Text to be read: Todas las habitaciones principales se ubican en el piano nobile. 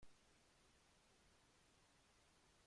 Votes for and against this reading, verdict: 0, 2, rejected